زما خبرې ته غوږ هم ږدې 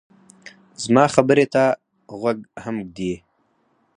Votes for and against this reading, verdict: 2, 4, rejected